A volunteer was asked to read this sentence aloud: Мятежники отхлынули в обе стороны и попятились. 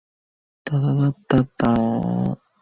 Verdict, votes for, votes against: rejected, 0, 2